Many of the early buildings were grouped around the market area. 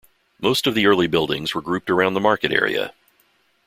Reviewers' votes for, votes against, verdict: 0, 2, rejected